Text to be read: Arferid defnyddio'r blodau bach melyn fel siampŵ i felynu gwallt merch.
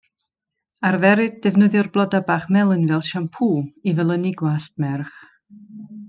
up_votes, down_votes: 2, 0